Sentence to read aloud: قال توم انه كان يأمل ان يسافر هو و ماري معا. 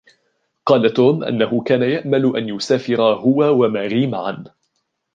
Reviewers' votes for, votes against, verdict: 1, 2, rejected